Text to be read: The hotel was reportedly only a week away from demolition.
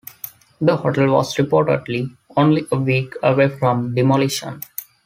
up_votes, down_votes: 2, 1